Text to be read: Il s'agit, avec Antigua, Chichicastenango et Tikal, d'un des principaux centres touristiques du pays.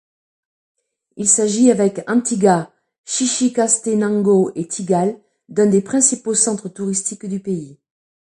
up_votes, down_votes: 2, 1